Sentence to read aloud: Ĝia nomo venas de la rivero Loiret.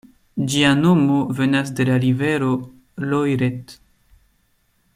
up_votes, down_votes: 2, 0